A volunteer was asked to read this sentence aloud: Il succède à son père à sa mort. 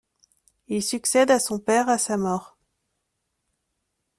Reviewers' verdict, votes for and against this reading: accepted, 2, 0